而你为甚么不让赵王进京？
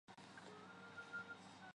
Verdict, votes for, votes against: rejected, 0, 4